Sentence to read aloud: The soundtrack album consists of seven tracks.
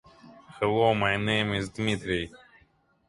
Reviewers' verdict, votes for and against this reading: rejected, 0, 2